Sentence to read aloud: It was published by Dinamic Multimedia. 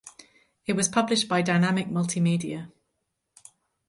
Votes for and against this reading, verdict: 4, 0, accepted